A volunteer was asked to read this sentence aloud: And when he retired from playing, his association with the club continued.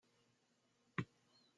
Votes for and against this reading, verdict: 0, 2, rejected